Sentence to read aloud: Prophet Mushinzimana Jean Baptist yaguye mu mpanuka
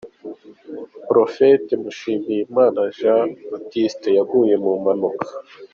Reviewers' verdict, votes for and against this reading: rejected, 1, 2